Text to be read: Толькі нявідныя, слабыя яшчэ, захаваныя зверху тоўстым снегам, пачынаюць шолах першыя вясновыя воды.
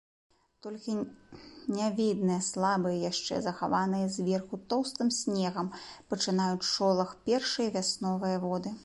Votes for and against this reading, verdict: 0, 2, rejected